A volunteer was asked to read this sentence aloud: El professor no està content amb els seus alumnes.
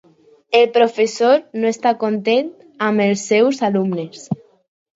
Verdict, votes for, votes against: accepted, 4, 0